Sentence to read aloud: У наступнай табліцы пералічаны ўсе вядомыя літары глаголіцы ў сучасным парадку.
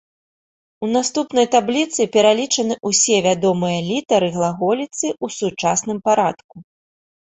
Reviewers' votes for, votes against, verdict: 2, 0, accepted